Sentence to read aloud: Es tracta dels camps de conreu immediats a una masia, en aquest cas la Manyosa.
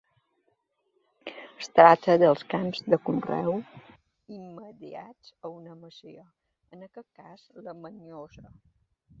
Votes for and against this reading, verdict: 2, 1, accepted